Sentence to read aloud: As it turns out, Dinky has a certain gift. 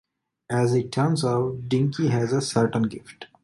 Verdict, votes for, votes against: accepted, 2, 0